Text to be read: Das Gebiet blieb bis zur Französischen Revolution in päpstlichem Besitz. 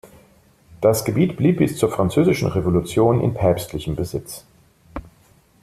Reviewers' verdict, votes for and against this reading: accepted, 2, 0